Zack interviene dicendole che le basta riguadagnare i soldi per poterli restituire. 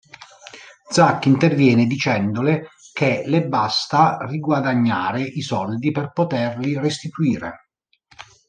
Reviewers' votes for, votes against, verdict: 2, 0, accepted